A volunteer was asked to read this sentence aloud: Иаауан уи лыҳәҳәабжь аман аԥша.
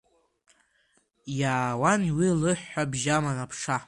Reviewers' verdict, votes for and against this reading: rejected, 0, 2